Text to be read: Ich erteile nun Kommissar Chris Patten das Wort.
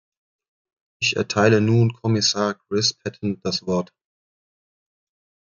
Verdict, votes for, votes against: accepted, 2, 0